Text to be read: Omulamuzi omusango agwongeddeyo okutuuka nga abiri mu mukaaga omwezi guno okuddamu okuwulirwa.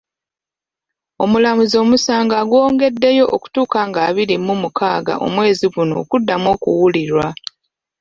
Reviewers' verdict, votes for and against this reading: accepted, 2, 1